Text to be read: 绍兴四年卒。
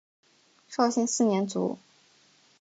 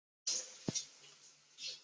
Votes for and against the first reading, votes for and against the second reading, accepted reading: 7, 0, 1, 2, first